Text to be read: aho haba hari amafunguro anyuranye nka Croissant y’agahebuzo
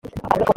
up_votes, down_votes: 0, 3